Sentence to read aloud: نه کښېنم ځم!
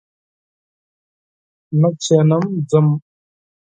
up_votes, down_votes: 6, 0